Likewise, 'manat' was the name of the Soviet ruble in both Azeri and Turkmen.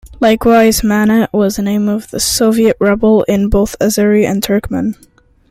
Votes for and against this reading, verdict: 2, 0, accepted